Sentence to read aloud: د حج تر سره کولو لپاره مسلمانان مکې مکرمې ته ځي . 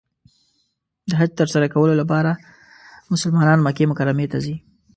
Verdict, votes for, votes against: accepted, 2, 0